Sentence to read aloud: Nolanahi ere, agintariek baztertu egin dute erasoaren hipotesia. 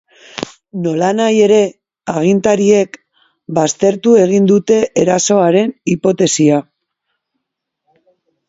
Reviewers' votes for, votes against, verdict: 2, 1, accepted